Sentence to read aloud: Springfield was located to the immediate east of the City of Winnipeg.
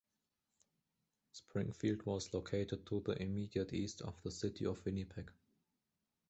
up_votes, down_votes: 2, 0